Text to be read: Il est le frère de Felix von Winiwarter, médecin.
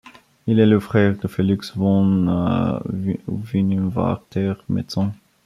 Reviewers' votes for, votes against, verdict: 2, 1, accepted